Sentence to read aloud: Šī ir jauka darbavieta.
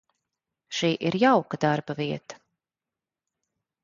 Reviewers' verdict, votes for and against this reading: accepted, 2, 0